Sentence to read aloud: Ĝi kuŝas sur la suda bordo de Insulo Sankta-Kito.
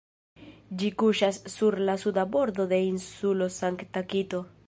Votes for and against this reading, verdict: 2, 1, accepted